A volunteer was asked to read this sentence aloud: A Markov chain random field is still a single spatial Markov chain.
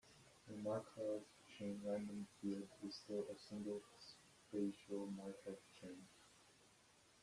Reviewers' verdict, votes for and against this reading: rejected, 0, 2